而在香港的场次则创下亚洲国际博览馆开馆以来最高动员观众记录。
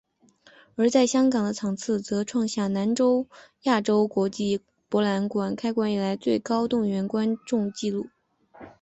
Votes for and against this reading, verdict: 7, 0, accepted